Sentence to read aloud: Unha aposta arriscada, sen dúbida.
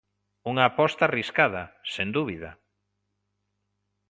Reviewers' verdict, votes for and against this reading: accepted, 2, 0